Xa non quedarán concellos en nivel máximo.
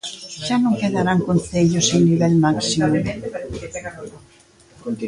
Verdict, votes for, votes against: rejected, 0, 2